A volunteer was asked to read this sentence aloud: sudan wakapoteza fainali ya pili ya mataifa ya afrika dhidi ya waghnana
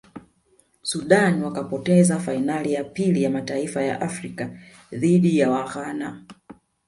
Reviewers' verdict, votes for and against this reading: rejected, 1, 2